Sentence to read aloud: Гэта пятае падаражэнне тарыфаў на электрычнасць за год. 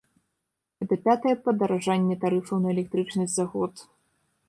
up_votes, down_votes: 0, 2